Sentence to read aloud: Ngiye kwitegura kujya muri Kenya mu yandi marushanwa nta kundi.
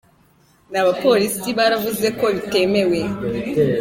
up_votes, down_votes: 0, 2